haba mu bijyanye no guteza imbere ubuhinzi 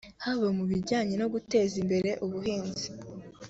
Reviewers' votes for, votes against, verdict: 3, 0, accepted